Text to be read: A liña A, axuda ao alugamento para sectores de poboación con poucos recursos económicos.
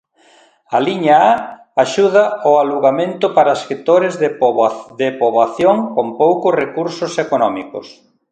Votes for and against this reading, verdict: 1, 2, rejected